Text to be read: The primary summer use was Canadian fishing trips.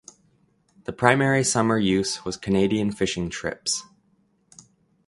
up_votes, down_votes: 2, 0